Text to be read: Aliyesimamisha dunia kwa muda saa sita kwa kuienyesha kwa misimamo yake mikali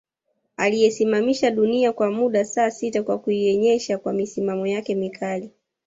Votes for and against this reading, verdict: 1, 2, rejected